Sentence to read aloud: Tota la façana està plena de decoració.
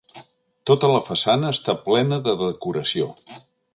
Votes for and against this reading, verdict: 2, 0, accepted